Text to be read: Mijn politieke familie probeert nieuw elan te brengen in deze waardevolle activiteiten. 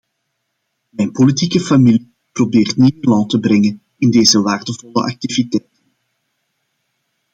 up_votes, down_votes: 0, 2